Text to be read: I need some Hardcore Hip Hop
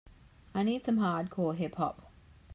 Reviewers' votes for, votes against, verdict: 2, 0, accepted